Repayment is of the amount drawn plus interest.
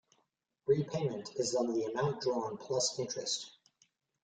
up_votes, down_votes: 1, 2